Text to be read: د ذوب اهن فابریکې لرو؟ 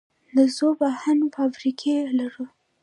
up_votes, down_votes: 1, 2